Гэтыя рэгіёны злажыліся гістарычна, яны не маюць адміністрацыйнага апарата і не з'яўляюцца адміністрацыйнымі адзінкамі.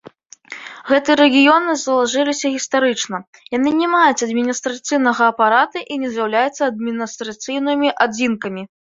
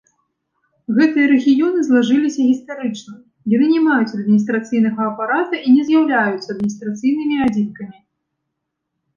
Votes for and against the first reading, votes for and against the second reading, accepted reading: 1, 2, 2, 0, second